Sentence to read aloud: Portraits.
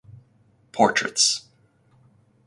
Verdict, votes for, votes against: accepted, 4, 0